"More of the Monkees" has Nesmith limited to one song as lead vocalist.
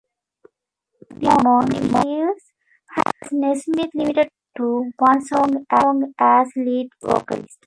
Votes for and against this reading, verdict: 0, 2, rejected